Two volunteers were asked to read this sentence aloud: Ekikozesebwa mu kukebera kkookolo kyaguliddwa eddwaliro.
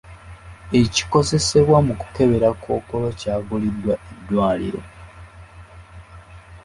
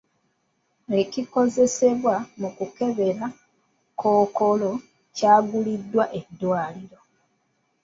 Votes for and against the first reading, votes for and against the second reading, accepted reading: 3, 1, 1, 2, first